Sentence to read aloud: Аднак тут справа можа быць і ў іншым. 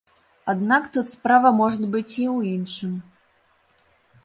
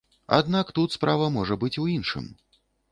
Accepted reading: first